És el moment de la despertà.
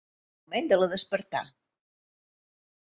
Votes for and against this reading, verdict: 0, 2, rejected